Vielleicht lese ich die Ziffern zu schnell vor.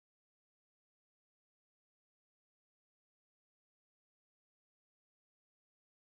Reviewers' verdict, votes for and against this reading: rejected, 0, 2